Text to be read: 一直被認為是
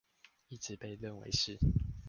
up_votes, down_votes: 1, 2